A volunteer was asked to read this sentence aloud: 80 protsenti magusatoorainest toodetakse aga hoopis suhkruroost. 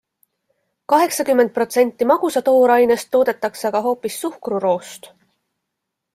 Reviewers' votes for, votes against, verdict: 0, 2, rejected